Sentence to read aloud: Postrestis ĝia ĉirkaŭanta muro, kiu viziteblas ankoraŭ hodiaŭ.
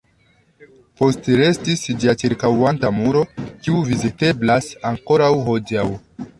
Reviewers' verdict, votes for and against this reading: accepted, 2, 0